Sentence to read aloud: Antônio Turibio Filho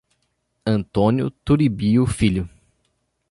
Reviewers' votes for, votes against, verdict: 2, 0, accepted